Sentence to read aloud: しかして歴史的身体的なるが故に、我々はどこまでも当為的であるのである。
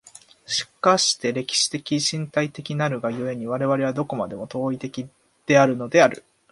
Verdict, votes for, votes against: accepted, 2, 0